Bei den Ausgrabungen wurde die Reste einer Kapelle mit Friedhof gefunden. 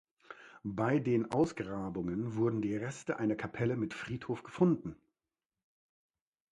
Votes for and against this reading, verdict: 0, 2, rejected